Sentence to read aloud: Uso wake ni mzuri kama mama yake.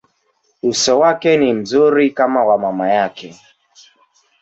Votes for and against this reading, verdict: 3, 1, accepted